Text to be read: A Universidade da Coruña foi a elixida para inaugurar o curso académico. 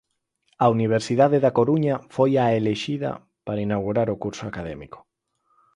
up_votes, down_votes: 2, 4